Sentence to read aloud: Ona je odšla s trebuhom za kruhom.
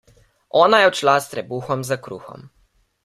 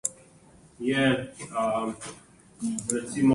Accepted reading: first